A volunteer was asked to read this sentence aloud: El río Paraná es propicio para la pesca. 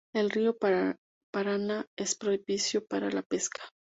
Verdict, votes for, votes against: rejected, 0, 2